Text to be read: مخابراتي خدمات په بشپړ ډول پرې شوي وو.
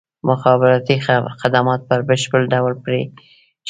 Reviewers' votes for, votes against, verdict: 1, 2, rejected